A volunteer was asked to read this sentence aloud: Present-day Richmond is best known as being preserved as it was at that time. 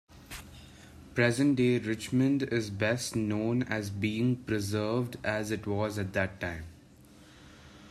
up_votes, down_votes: 2, 0